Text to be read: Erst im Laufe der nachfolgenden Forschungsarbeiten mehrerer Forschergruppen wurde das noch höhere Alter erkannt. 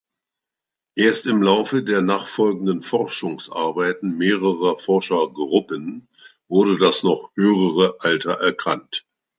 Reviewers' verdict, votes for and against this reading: rejected, 1, 2